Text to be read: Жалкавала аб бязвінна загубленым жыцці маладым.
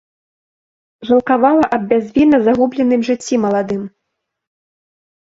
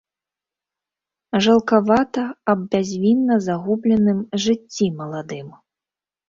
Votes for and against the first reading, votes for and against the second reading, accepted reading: 2, 0, 1, 2, first